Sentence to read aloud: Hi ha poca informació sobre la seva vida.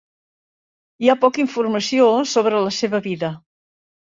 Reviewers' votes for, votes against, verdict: 3, 0, accepted